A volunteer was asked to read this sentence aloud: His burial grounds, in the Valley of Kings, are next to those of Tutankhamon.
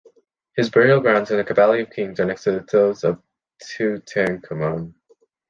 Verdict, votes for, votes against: rejected, 0, 2